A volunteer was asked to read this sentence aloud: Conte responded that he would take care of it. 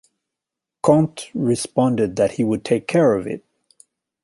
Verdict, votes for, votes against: accepted, 2, 0